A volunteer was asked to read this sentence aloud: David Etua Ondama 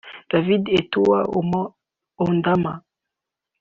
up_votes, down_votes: 1, 2